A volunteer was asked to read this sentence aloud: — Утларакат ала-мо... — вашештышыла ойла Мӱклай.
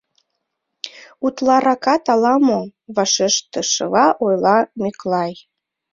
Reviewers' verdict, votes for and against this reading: accepted, 2, 1